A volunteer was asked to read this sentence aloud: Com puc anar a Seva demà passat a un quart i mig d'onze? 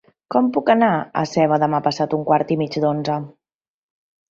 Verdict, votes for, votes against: accepted, 2, 0